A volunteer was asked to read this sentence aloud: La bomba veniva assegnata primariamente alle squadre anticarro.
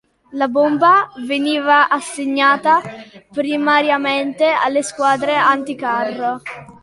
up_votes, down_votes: 2, 0